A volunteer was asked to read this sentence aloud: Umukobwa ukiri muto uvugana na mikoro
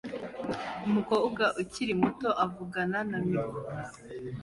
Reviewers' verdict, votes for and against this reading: accepted, 2, 1